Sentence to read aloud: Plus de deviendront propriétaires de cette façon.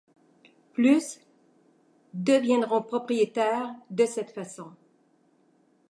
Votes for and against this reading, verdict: 1, 2, rejected